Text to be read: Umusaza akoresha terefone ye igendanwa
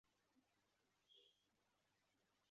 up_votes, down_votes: 0, 2